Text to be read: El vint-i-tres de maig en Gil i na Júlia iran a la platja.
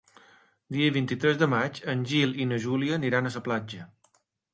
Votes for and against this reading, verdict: 1, 2, rejected